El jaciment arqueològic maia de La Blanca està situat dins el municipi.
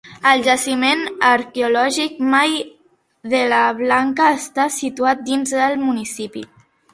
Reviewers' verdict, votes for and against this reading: rejected, 1, 2